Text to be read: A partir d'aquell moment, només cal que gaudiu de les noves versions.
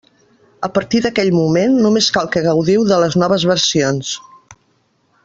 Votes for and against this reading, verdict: 3, 0, accepted